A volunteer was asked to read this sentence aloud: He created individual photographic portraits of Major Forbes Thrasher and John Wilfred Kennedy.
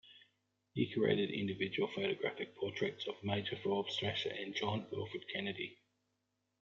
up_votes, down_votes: 2, 0